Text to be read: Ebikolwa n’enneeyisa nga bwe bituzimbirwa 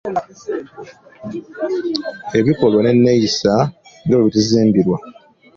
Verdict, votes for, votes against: accepted, 2, 0